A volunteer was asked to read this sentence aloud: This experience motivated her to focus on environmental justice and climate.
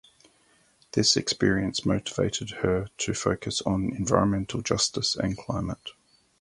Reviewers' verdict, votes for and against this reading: accepted, 2, 0